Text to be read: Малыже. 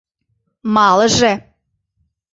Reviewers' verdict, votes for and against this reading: accepted, 2, 0